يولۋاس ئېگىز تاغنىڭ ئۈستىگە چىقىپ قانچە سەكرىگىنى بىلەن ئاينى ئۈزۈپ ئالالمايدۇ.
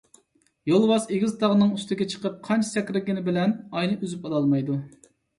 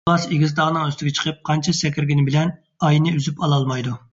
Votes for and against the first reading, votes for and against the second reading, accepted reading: 2, 0, 1, 2, first